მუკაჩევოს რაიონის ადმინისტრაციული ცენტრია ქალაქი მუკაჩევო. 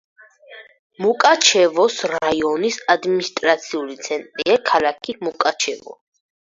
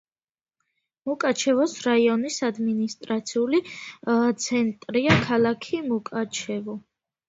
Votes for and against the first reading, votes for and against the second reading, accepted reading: 2, 4, 2, 0, second